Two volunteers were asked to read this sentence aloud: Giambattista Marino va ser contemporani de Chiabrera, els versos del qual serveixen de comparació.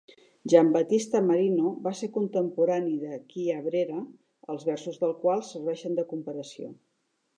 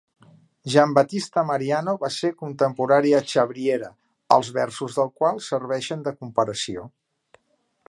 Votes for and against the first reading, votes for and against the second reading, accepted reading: 2, 0, 1, 2, first